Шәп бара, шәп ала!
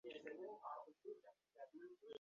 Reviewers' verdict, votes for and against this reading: rejected, 0, 2